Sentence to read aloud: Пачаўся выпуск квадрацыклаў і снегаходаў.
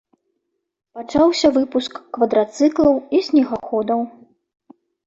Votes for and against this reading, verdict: 2, 0, accepted